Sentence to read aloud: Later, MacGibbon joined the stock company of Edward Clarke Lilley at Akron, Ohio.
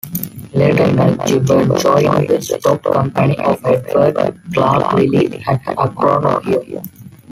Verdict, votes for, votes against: rejected, 0, 2